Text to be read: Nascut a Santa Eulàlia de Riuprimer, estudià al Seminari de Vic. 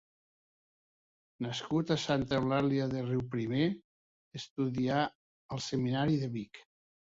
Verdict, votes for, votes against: accepted, 2, 0